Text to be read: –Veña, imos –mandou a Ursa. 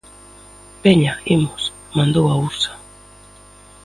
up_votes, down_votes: 1, 2